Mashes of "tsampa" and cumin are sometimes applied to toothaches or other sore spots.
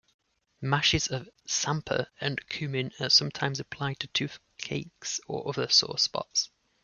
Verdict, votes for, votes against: rejected, 1, 2